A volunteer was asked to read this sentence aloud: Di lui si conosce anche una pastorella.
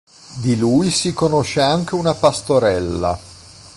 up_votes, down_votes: 2, 0